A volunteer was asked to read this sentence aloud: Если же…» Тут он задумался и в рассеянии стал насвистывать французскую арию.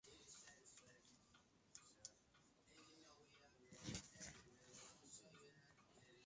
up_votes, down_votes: 0, 2